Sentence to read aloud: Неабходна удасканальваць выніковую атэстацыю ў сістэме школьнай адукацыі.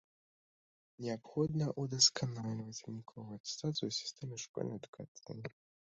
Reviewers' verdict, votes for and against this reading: rejected, 0, 2